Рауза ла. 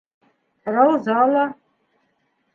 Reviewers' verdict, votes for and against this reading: accepted, 2, 0